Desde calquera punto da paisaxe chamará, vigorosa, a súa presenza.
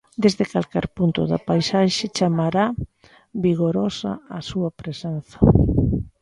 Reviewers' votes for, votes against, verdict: 1, 3, rejected